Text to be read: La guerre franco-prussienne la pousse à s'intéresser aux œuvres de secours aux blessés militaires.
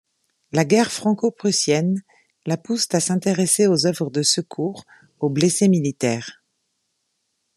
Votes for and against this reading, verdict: 0, 2, rejected